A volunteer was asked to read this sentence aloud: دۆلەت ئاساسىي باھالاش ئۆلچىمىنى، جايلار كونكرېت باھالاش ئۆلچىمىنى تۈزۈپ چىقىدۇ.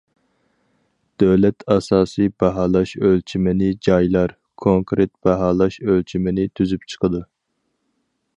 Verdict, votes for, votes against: accepted, 4, 0